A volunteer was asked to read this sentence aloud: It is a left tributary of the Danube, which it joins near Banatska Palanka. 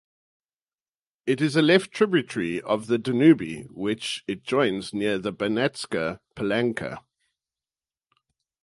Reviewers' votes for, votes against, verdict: 0, 2, rejected